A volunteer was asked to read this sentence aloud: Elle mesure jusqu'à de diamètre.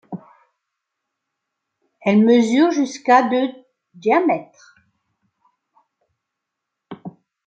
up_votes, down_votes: 0, 2